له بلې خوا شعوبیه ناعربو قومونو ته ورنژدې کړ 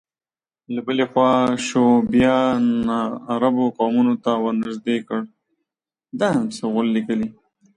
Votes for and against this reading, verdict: 0, 6, rejected